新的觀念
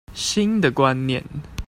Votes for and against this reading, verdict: 2, 0, accepted